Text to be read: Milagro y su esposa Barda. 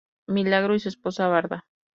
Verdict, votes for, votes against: accepted, 2, 0